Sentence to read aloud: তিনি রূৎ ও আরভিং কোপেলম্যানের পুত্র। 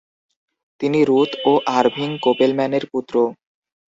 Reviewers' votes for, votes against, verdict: 2, 0, accepted